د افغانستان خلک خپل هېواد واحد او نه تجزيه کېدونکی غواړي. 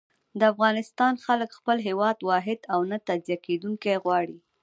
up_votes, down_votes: 1, 2